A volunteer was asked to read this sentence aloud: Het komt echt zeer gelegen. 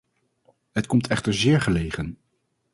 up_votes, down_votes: 2, 2